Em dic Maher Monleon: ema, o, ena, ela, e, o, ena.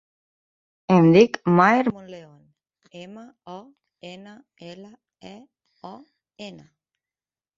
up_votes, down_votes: 1, 2